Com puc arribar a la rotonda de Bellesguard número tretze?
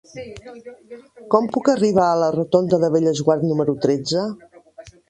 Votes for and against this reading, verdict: 1, 2, rejected